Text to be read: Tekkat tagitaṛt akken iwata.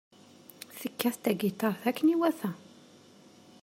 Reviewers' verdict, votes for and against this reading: rejected, 1, 2